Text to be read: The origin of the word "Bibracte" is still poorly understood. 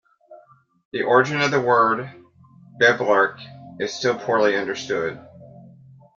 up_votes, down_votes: 1, 2